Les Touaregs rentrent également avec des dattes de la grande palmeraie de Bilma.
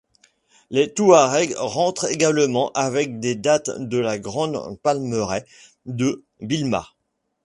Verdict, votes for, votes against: accepted, 2, 0